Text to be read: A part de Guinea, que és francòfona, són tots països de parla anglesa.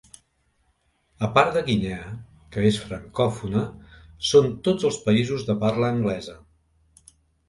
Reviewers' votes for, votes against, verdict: 1, 2, rejected